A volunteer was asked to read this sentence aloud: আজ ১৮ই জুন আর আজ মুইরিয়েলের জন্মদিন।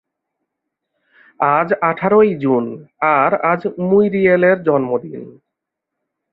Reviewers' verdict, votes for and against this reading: rejected, 0, 2